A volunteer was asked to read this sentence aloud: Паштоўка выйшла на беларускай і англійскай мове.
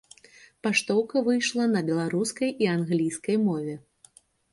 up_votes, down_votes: 2, 0